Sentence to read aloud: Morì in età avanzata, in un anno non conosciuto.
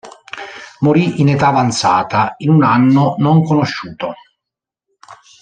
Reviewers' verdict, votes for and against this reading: accepted, 3, 0